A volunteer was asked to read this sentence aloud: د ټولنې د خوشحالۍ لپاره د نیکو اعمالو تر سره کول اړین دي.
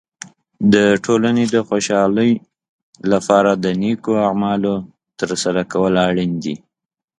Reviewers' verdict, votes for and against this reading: accepted, 2, 0